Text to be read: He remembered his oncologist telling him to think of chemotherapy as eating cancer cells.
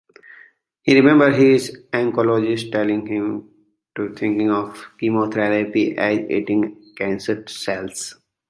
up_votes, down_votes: 1, 2